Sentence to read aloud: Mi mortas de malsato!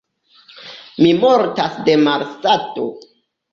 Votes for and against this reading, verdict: 2, 1, accepted